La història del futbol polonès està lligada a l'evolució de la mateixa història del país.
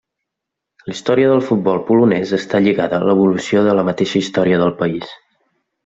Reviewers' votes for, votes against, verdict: 2, 0, accepted